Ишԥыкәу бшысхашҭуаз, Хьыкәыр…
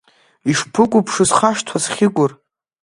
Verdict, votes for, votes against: rejected, 1, 2